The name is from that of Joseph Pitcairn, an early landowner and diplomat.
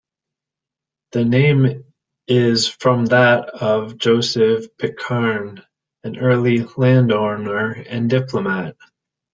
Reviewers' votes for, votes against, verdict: 1, 2, rejected